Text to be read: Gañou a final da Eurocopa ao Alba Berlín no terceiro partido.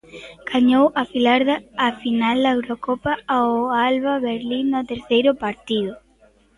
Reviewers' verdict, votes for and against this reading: rejected, 0, 2